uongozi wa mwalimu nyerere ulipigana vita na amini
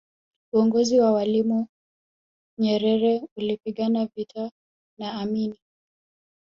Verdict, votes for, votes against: rejected, 1, 2